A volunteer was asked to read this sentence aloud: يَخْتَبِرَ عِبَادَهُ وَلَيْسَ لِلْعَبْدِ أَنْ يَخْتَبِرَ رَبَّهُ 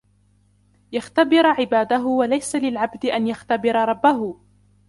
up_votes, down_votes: 0, 2